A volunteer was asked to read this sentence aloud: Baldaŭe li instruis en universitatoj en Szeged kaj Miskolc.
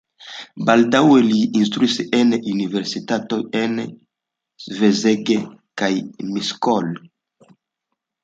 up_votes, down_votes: 1, 2